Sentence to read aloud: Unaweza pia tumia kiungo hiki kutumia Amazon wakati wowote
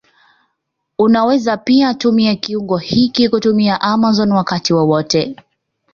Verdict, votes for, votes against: accepted, 2, 0